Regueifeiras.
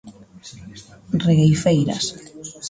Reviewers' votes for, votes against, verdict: 0, 2, rejected